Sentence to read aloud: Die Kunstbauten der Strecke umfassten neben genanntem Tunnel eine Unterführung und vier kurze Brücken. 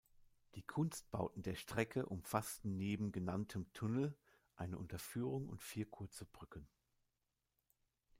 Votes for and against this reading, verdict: 2, 0, accepted